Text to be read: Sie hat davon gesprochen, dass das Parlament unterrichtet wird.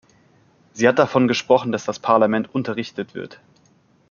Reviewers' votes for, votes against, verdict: 2, 0, accepted